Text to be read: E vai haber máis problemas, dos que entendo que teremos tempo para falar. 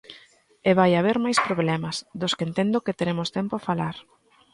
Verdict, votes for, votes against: rejected, 0, 3